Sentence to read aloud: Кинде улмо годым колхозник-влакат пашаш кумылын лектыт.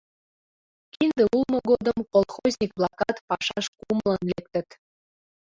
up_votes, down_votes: 0, 2